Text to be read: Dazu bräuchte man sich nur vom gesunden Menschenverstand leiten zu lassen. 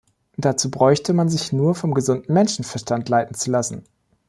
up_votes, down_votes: 2, 0